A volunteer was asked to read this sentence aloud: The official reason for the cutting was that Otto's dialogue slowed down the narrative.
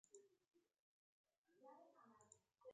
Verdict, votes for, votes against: rejected, 0, 2